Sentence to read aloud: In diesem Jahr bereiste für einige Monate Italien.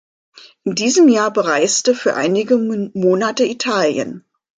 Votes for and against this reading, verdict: 0, 2, rejected